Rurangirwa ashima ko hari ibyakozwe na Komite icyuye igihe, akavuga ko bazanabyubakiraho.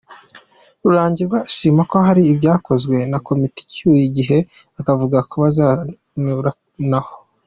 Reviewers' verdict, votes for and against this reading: rejected, 0, 2